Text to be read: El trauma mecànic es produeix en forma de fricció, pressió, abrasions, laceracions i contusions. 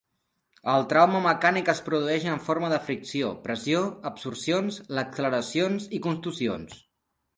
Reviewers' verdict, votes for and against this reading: rejected, 0, 6